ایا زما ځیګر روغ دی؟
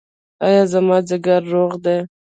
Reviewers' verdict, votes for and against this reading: rejected, 0, 2